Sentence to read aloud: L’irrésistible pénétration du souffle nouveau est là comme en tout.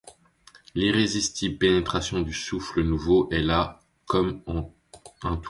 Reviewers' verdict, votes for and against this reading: rejected, 1, 2